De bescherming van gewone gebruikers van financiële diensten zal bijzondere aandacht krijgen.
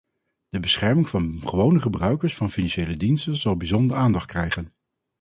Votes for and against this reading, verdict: 4, 0, accepted